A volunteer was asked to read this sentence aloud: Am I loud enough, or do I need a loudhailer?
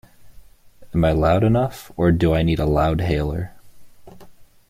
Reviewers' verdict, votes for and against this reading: accepted, 2, 0